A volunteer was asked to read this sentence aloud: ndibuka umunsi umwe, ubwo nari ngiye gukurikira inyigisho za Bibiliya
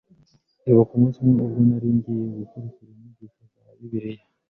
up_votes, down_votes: 1, 2